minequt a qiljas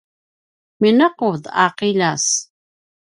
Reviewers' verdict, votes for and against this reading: accepted, 2, 1